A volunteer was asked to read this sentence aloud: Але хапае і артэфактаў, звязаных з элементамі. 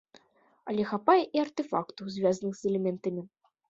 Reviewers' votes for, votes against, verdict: 2, 0, accepted